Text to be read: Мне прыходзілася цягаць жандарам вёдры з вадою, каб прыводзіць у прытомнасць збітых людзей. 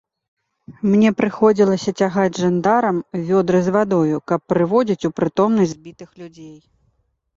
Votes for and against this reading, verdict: 2, 0, accepted